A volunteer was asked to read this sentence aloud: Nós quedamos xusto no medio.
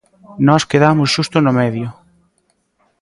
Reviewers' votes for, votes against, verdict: 2, 0, accepted